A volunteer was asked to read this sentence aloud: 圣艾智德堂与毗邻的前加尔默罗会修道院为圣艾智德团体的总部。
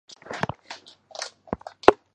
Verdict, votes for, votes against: rejected, 0, 2